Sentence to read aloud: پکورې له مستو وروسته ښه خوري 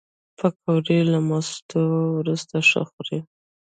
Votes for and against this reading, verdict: 1, 2, rejected